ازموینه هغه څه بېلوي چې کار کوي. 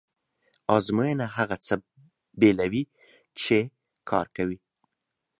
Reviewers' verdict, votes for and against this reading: accepted, 2, 0